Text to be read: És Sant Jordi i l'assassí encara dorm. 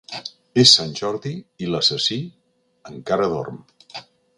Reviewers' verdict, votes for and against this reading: accepted, 3, 0